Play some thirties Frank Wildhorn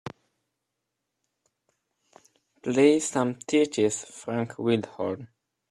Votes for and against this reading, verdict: 1, 2, rejected